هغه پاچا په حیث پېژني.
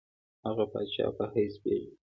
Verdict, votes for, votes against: accepted, 2, 0